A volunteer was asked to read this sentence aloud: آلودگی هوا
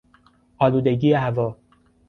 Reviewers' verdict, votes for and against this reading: accepted, 2, 0